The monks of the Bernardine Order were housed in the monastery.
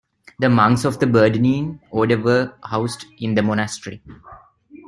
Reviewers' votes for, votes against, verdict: 0, 2, rejected